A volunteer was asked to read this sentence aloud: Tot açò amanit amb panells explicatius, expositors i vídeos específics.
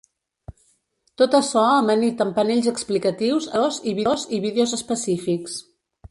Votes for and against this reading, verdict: 0, 2, rejected